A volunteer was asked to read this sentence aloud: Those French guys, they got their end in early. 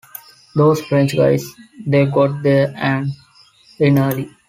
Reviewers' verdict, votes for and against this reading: accepted, 2, 1